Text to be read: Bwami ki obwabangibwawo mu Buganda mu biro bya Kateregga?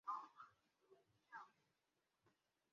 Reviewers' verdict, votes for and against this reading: rejected, 0, 2